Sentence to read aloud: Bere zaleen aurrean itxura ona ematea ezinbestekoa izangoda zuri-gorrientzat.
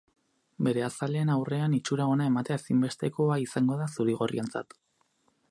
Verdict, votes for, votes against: rejected, 2, 4